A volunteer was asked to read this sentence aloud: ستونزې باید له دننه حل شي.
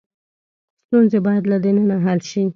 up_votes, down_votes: 3, 0